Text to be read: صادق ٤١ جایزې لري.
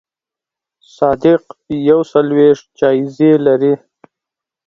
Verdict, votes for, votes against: rejected, 0, 2